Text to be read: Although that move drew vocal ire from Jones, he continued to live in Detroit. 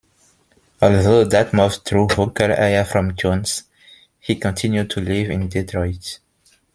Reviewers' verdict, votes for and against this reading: rejected, 1, 2